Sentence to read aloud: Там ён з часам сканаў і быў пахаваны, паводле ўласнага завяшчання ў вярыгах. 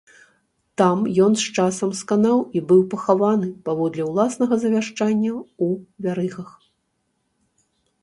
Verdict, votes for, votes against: rejected, 0, 2